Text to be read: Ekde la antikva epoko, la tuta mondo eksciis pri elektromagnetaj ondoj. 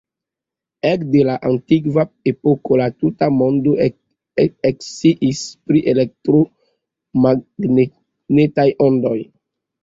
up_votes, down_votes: 0, 2